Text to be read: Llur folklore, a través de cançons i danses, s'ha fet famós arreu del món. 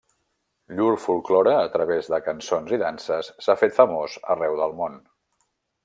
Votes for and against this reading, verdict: 0, 2, rejected